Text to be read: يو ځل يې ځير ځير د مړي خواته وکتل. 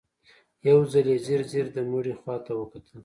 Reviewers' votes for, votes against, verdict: 2, 0, accepted